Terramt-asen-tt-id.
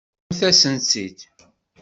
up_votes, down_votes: 0, 2